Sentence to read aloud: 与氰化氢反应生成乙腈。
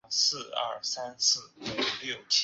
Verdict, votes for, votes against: rejected, 1, 5